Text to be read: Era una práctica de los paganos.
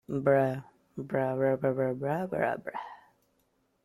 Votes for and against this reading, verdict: 0, 2, rejected